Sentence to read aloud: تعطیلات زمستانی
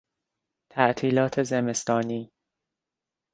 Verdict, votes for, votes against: accepted, 3, 0